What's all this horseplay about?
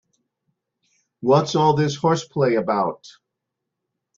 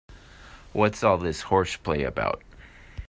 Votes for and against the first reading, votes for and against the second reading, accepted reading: 2, 0, 0, 2, first